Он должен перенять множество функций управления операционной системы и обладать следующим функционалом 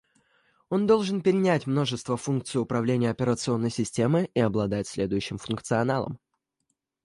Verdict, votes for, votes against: accepted, 2, 0